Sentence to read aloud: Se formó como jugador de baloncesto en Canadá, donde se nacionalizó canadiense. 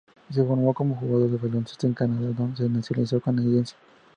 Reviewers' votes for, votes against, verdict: 4, 0, accepted